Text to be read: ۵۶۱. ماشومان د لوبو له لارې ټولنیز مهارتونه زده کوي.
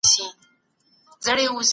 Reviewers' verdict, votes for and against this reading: rejected, 0, 2